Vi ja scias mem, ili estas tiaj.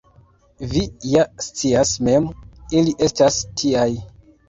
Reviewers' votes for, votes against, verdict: 2, 0, accepted